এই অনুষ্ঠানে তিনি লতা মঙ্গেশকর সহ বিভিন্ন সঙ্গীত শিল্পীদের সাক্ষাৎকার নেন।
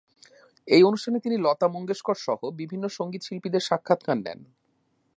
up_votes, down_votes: 2, 0